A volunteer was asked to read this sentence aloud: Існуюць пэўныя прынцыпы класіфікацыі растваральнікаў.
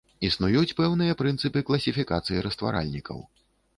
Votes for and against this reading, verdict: 3, 0, accepted